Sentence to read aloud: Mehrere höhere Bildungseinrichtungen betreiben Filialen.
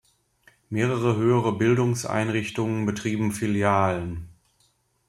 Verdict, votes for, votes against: rejected, 1, 2